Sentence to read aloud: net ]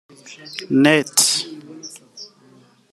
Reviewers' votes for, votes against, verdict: 2, 3, rejected